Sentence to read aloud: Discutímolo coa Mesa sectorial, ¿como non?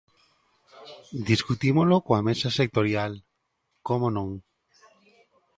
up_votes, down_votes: 2, 0